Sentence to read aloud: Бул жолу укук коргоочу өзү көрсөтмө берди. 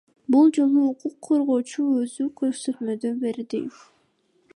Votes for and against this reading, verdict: 0, 2, rejected